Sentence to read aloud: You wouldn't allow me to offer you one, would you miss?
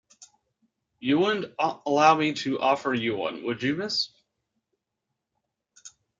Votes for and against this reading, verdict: 2, 1, accepted